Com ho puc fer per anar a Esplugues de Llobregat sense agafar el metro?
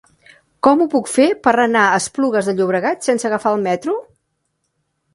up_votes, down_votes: 4, 0